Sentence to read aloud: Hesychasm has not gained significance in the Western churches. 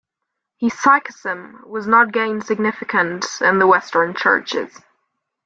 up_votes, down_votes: 0, 2